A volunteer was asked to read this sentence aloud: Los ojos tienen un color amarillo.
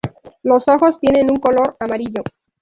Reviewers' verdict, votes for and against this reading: rejected, 0, 2